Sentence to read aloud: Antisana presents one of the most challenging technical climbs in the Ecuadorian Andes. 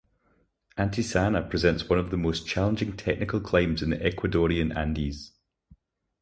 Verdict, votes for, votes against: accepted, 4, 0